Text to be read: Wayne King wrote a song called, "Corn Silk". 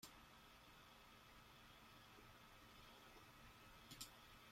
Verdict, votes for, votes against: rejected, 0, 2